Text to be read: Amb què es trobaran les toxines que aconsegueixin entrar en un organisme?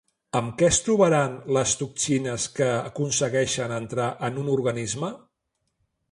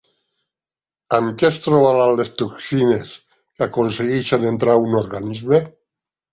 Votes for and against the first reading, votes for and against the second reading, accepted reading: 2, 0, 0, 2, first